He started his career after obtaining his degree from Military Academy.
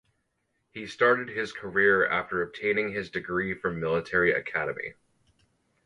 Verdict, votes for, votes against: accepted, 4, 0